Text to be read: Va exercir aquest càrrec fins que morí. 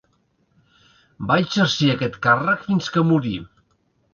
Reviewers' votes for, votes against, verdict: 3, 0, accepted